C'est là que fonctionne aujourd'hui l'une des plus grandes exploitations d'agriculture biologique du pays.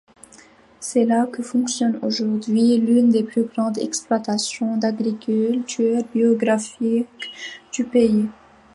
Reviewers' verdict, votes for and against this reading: rejected, 1, 2